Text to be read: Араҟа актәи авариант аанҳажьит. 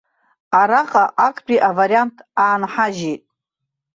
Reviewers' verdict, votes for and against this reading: accepted, 2, 0